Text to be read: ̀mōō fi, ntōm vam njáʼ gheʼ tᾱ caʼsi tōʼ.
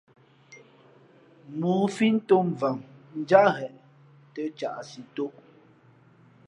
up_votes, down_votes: 2, 0